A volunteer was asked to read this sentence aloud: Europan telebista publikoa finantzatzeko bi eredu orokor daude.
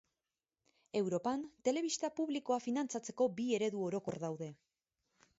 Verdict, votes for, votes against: accepted, 4, 0